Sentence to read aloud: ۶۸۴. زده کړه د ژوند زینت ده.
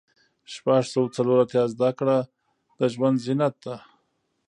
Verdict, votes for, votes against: rejected, 0, 2